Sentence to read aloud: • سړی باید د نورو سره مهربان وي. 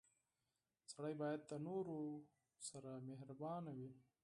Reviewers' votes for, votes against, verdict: 4, 0, accepted